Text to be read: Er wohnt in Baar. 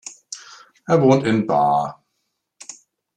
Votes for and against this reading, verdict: 2, 0, accepted